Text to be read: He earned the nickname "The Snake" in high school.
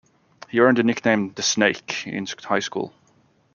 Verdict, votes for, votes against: rejected, 1, 3